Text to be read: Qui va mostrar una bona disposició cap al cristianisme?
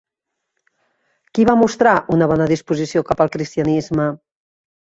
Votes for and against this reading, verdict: 3, 0, accepted